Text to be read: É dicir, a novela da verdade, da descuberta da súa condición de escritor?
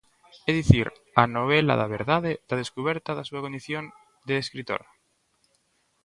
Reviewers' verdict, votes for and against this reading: rejected, 0, 2